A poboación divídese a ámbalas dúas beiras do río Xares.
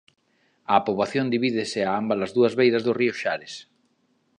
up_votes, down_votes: 3, 0